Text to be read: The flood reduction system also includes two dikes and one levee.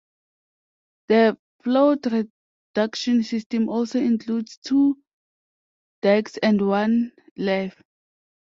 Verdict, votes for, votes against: rejected, 0, 2